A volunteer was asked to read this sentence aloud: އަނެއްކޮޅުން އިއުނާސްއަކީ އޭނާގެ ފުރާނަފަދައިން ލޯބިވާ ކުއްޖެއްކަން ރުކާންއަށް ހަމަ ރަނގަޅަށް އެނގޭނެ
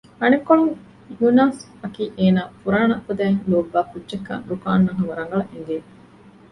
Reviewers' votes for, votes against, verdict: 1, 2, rejected